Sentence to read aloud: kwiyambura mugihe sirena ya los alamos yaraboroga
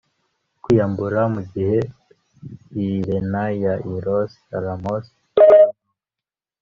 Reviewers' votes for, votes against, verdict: 1, 2, rejected